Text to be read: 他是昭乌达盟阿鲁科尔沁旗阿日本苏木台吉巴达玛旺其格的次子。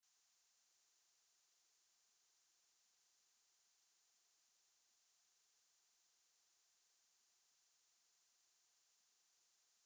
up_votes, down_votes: 0, 2